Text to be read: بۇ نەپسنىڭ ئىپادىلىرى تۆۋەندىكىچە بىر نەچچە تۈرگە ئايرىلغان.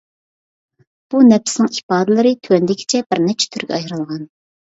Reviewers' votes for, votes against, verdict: 2, 0, accepted